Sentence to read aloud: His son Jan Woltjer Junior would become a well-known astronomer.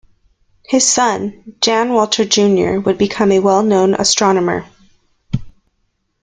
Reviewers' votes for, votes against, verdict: 2, 0, accepted